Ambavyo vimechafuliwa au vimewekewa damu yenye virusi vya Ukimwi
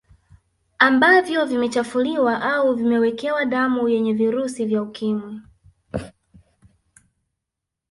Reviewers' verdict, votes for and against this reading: accepted, 2, 0